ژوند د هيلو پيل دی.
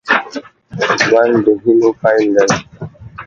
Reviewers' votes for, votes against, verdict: 1, 2, rejected